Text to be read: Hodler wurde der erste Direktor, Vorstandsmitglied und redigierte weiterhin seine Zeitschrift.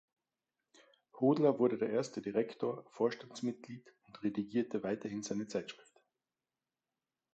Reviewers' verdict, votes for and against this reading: accepted, 2, 0